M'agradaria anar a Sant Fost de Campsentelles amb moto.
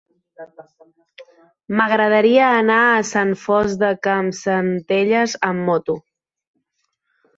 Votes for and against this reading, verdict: 3, 0, accepted